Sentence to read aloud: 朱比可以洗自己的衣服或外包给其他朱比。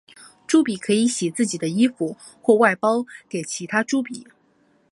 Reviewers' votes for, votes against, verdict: 3, 0, accepted